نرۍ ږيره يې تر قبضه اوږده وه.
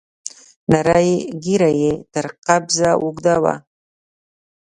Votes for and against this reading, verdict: 1, 3, rejected